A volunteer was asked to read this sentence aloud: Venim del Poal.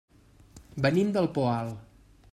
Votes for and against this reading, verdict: 3, 0, accepted